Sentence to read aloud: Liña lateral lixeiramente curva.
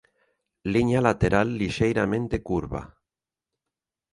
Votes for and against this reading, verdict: 2, 0, accepted